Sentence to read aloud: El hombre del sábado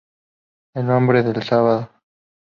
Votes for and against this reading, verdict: 0, 2, rejected